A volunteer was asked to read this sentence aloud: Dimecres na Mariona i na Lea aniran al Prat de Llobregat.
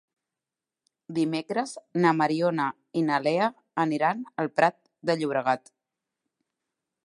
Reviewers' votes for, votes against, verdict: 3, 0, accepted